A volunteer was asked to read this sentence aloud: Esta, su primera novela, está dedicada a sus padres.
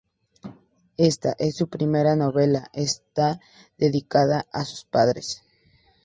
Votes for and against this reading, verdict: 0, 2, rejected